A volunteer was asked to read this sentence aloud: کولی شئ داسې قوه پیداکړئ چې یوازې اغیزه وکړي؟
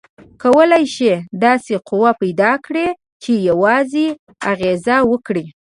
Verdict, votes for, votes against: accepted, 2, 0